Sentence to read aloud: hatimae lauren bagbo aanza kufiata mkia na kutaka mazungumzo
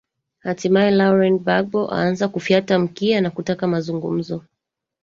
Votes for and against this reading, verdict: 1, 3, rejected